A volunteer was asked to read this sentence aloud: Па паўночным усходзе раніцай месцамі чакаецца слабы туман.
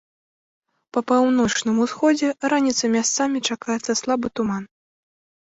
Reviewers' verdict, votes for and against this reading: rejected, 0, 2